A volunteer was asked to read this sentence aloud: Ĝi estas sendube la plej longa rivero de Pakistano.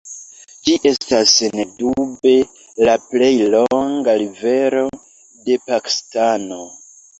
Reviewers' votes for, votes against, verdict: 0, 2, rejected